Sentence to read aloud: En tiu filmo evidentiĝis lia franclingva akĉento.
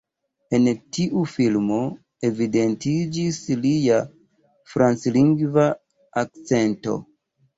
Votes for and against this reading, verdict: 0, 2, rejected